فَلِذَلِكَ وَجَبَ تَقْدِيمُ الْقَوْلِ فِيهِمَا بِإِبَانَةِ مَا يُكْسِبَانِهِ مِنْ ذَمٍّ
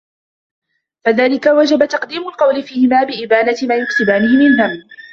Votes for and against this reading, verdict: 1, 2, rejected